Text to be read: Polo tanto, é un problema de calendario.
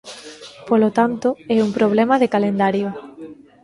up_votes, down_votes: 0, 2